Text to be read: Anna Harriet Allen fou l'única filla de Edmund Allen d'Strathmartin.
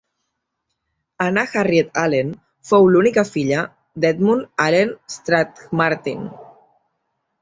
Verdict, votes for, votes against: accepted, 3, 2